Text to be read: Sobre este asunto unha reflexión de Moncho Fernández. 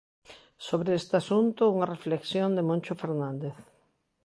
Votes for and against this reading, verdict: 2, 0, accepted